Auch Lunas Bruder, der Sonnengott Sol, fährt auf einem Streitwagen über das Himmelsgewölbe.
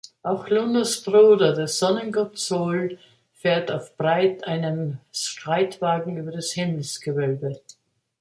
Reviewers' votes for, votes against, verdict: 0, 2, rejected